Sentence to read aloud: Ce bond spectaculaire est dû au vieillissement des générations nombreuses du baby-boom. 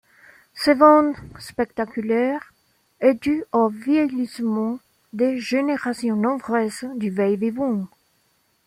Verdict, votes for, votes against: accepted, 2, 0